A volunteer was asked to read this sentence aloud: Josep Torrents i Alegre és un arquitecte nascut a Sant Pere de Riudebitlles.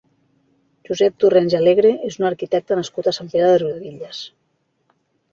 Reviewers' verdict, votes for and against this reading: rejected, 1, 2